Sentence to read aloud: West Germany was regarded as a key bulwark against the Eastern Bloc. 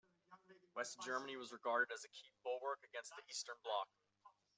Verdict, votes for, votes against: rejected, 1, 2